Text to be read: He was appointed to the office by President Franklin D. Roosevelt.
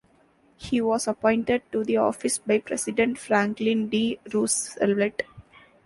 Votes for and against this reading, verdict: 1, 2, rejected